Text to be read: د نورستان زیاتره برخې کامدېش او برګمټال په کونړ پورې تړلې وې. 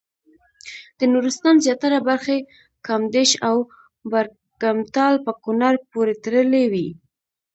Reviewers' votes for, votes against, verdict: 2, 0, accepted